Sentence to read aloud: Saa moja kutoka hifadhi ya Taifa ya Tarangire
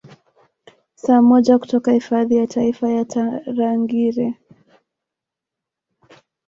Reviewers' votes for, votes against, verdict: 1, 2, rejected